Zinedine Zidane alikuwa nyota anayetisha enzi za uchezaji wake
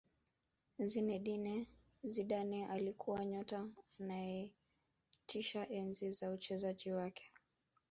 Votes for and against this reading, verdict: 1, 2, rejected